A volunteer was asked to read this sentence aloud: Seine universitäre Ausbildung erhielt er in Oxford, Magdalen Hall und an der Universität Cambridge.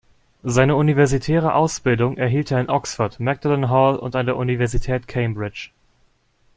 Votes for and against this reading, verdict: 0, 2, rejected